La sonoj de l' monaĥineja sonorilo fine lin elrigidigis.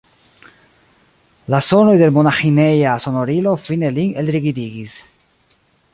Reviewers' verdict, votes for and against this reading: rejected, 0, 2